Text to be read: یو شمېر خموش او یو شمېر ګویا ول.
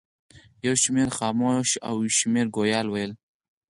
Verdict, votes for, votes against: accepted, 4, 2